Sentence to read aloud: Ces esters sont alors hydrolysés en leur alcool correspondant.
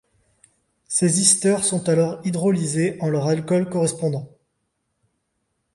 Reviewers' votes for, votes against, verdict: 1, 2, rejected